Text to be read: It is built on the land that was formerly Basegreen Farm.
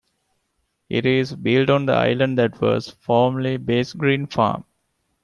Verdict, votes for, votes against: rejected, 0, 2